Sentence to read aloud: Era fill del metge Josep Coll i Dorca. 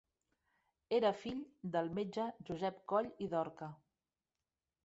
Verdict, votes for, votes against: rejected, 0, 2